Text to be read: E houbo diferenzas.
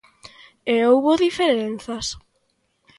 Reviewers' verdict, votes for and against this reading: accepted, 2, 0